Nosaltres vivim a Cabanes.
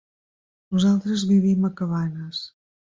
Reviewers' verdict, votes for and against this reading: accepted, 3, 1